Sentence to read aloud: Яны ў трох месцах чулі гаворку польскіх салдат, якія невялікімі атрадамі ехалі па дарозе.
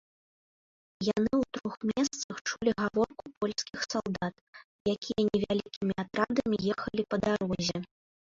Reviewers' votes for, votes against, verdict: 0, 3, rejected